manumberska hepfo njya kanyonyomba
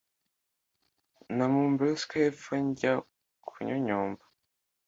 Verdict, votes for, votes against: accepted, 2, 0